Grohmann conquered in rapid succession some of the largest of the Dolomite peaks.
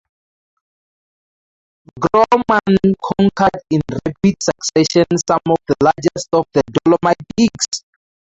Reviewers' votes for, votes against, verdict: 0, 2, rejected